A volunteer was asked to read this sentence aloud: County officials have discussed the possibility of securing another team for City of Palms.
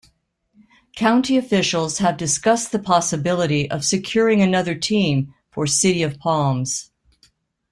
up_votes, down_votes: 2, 1